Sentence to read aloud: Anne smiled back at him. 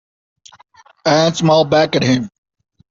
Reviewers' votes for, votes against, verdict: 2, 0, accepted